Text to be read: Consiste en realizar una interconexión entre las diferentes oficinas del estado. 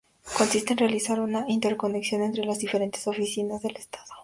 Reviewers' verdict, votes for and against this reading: rejected, 0, 2